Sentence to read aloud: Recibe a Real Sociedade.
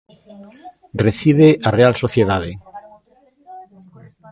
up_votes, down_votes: 7, 0